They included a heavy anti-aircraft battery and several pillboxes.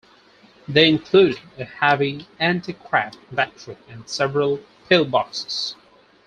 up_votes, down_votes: 4, 0